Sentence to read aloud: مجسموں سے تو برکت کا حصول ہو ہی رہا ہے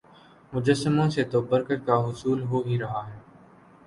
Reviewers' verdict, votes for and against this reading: accepted, 3, 0